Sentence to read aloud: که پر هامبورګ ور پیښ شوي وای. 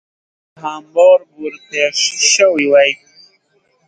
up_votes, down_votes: 5, 10